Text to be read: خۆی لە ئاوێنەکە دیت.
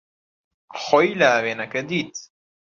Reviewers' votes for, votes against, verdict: 2, 0, accepted